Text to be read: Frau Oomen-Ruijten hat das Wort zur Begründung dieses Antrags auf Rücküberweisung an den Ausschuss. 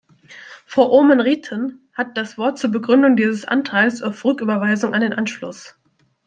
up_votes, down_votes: 0, 2